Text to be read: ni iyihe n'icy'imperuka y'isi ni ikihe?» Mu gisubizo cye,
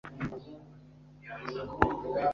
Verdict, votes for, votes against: rejected, 0, 2